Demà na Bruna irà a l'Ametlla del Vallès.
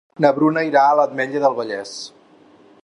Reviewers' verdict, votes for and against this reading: rejected, 0, 8